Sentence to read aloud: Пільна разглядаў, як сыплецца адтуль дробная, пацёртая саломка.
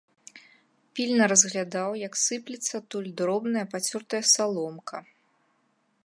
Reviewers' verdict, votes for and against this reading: accepted, 2, 0